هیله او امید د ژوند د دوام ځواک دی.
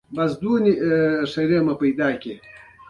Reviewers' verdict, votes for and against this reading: rejected, 0, 2